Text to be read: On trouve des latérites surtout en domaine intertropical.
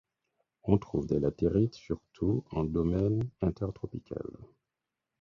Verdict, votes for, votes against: accepted, 4, 0